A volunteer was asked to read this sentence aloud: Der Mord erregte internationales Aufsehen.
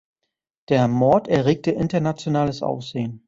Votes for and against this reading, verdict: 2, 0, accepted